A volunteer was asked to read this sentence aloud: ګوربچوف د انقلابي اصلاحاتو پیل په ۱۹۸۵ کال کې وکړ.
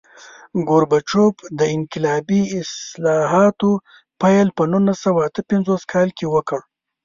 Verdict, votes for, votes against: rejected, 0, 2